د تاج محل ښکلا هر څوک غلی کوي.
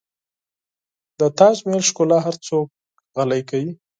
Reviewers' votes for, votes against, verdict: 2, 4, rejected